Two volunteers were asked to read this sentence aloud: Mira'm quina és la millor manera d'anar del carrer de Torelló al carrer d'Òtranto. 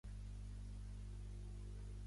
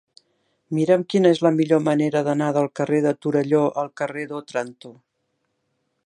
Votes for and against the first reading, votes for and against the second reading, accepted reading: 0, 2, 2, 1, second